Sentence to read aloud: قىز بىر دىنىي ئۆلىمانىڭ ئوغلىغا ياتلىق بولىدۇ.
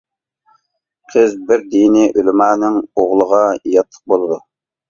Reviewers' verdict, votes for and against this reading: accepted, 2, 0